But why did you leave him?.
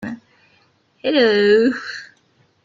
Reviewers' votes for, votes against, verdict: 0, 2, rejected